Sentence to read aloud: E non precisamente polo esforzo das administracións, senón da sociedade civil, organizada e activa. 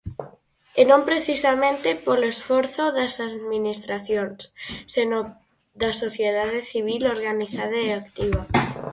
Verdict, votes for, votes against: accepted, 4, 0